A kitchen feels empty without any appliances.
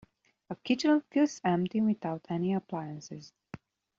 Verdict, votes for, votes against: accepted, 2, 0